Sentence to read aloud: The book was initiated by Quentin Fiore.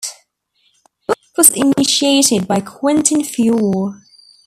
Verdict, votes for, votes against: rejected, 0, 2